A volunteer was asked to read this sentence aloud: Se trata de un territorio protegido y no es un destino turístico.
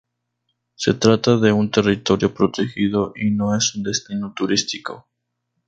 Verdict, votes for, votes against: rejected, 0, 2